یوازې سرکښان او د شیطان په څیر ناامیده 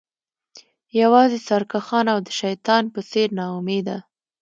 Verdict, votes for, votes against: accepted, 2, 0